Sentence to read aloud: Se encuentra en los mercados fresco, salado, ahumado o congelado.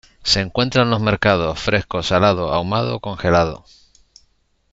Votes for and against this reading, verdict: 2, 0, accepted